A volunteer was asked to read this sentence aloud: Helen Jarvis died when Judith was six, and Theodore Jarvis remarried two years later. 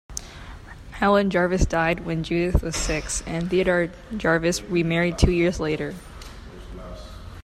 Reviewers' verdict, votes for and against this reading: accepted, 2, 1